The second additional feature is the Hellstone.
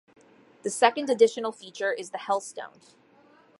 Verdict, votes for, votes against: accepted, 2, 0